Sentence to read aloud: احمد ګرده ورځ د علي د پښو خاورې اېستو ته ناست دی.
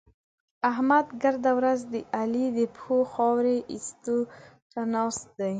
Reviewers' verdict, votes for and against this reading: accepted, 2, 0